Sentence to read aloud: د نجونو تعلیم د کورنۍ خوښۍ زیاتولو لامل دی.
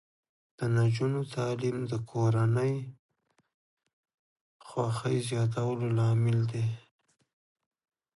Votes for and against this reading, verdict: 0, 2, rejected